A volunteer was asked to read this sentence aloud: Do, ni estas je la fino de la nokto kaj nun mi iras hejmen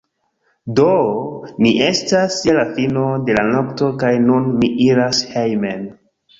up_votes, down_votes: 2, 1